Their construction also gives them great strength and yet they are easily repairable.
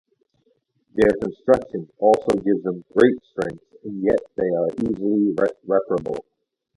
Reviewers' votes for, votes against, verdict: 0, 2, rejected